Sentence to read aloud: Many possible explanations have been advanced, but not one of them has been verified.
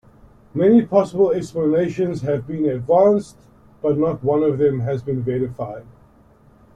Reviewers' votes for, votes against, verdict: 2, 0, accepted